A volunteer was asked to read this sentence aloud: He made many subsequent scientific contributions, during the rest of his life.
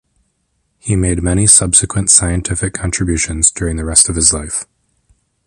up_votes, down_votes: 1, 2